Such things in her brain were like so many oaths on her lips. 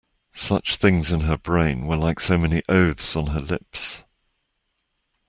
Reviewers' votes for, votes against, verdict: 2, 0, accepted